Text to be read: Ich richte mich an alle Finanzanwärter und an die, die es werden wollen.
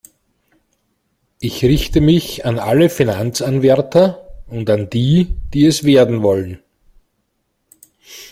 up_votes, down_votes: 2, 0